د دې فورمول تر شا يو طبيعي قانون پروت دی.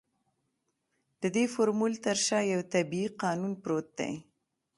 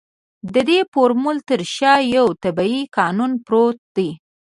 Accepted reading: first